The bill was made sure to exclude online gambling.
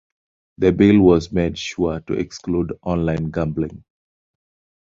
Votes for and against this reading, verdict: 2, 0, accepted